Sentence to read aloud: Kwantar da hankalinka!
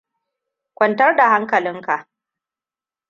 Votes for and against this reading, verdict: 2, 0, accepted